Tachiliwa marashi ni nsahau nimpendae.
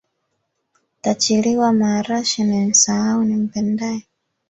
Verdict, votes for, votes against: rejected, 1, 2